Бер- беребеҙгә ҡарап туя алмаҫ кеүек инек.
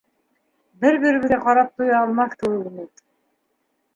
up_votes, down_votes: 1, 2